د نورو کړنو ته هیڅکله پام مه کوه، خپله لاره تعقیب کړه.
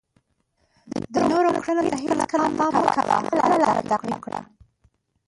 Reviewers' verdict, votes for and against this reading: rejected, 0, 2